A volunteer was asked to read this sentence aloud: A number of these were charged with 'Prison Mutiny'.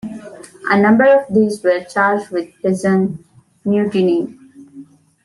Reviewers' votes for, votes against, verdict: 2, 0, accepted